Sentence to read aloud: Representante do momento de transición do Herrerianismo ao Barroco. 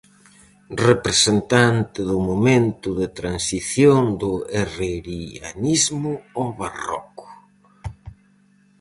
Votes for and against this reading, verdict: 2, 2, rejected